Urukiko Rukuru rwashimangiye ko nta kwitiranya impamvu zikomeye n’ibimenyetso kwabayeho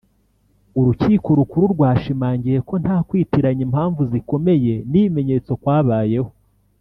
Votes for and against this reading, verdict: 2, 0, accepted